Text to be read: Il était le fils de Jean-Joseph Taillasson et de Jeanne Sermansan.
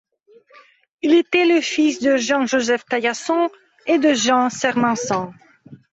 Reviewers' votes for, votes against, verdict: 1, 2, rejected